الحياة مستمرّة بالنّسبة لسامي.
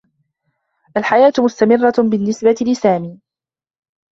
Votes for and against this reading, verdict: 2, 1, accepted